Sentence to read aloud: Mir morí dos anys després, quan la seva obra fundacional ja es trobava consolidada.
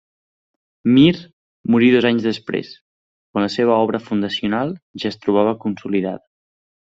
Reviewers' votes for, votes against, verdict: 0, 2, rejected